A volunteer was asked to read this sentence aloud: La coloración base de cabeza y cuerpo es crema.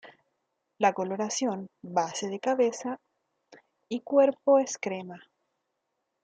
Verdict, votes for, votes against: accepted, 2, 0